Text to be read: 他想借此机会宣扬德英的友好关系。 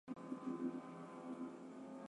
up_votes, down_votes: 0, 2